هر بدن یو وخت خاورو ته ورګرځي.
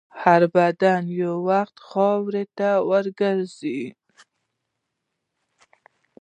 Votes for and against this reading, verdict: 1, 2, rejected